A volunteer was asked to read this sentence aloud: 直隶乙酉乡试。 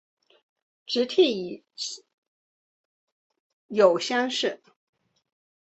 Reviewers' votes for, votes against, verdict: 1, 2, rejected